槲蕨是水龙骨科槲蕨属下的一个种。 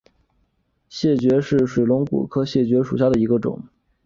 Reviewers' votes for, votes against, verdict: 0, 3, rejected